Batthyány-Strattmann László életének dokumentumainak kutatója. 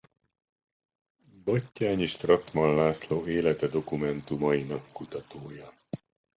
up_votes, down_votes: 0, 2